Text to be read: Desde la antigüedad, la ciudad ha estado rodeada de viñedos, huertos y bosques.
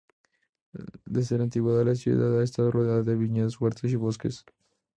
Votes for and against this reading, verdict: 0, 2, rejected